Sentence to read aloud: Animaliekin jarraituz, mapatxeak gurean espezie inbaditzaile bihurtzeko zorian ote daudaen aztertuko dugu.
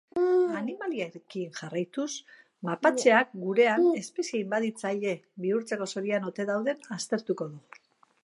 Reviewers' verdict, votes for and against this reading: rejected, 0, 2